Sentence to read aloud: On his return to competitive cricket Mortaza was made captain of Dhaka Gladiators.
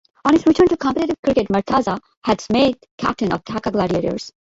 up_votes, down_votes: 0, 2